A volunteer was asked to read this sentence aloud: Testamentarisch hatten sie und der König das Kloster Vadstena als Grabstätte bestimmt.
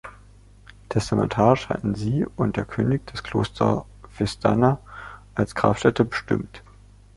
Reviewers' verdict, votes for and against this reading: rejected, 2, 3